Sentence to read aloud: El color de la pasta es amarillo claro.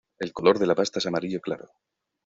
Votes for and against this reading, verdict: 2, 0, accepted